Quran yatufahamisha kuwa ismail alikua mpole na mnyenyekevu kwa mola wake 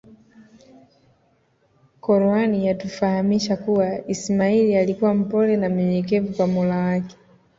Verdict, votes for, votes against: accepted, 2, 1